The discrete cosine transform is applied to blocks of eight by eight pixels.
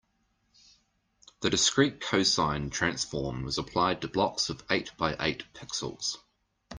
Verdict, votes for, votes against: accepted, 2, 0